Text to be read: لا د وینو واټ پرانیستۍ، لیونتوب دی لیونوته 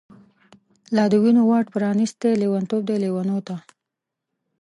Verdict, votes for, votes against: rejected, 1, 2